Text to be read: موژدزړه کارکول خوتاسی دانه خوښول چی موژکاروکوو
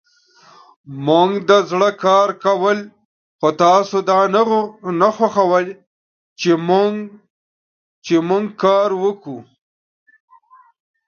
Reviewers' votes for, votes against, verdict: 1, 2, rejected